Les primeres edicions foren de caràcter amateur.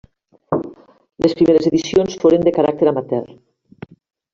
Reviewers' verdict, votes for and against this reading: rejected, 0, 2